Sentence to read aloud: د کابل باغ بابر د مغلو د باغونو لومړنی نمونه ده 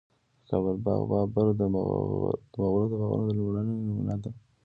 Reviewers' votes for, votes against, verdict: 0, 2, rejected